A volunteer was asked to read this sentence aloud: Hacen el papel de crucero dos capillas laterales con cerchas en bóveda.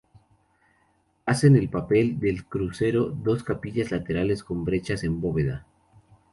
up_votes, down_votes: 0, 2